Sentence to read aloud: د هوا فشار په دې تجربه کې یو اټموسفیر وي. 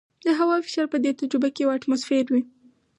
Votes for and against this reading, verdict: 2, 0, accepted